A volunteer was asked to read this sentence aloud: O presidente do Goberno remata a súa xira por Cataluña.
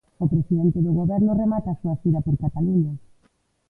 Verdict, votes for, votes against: rejected, 0, 2